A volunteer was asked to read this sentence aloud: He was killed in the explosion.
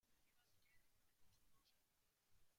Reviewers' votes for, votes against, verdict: 0, 2, rejected